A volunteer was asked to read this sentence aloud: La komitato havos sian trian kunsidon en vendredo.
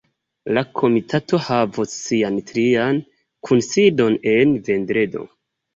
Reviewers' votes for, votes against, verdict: 2, 0, accepted